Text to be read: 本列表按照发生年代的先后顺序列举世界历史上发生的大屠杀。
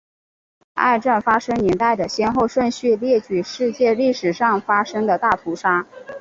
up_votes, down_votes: 2, 0